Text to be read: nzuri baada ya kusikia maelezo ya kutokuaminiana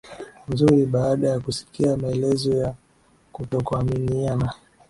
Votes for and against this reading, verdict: 2, 0, accepted